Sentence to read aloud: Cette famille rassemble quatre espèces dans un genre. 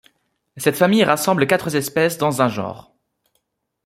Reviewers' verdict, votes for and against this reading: accepted, 2, 1